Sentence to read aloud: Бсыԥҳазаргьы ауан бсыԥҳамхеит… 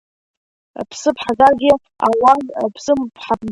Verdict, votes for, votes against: rejected, 1, 2